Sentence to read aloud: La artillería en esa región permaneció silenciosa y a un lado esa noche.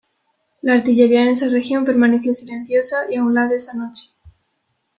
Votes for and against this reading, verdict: 2, 1, accepted